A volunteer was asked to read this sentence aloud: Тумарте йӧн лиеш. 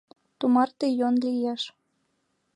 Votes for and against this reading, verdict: 2, 0, accepted